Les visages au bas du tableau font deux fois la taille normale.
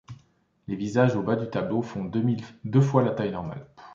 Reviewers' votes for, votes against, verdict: 1, 3, rejected